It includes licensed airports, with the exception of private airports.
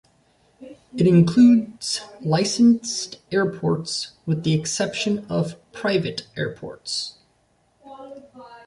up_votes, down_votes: 0, 2